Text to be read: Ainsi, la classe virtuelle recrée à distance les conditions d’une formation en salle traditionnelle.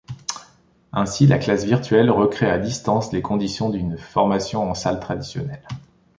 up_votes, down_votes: 2, 0